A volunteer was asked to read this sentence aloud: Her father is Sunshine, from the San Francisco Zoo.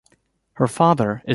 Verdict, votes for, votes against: rejected, 1, 2